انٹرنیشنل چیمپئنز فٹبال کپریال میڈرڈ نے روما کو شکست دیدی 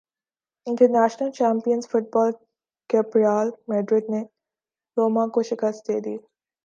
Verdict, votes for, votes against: accepted, 2, 0